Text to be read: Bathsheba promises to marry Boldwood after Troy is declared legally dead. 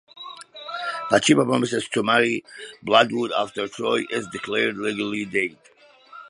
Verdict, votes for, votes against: rejected, 1, 2